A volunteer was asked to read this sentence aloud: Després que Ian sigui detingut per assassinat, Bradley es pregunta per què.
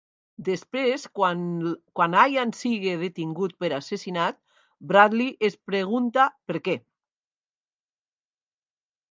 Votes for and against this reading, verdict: 0, 2, rejected